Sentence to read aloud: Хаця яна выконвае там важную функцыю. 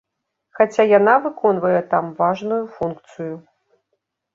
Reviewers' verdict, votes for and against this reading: accepted, 2, 0